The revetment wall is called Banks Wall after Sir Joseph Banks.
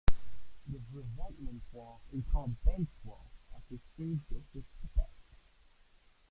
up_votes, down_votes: 0, 2